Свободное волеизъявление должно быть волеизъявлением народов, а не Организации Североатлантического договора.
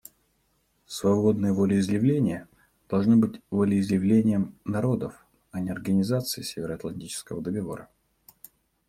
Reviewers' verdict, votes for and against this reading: rejected, 1, 2